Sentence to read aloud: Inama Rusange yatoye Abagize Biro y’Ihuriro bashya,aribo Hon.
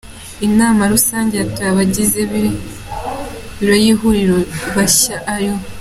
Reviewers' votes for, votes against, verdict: 2, 0, accepted